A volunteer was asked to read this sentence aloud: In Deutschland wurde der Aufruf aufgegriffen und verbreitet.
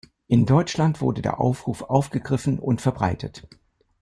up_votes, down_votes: 2, 0